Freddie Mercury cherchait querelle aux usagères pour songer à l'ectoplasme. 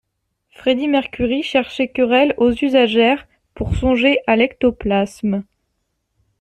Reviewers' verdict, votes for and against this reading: accepted, 2, 0